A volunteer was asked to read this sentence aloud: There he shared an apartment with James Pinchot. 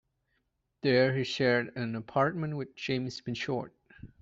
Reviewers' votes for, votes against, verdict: 2, 0, accepted